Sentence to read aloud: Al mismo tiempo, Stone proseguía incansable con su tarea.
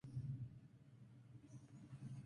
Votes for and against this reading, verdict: 0, 2, rejected